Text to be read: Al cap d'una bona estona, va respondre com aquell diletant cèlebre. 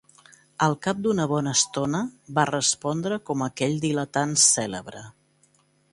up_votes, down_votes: 2, 0